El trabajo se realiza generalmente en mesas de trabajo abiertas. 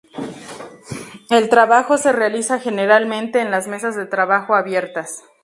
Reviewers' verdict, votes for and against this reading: rejected, 0, 4